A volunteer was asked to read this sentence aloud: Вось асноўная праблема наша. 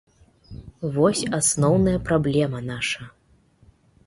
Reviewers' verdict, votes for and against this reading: accepted, 2, 0